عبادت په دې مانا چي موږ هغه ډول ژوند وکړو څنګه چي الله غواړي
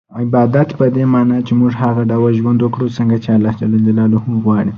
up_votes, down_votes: 1, 2